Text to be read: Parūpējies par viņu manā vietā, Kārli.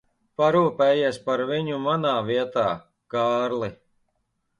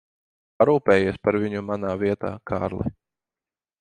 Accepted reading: second